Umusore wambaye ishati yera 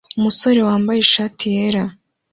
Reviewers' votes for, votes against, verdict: 0, 2, rejected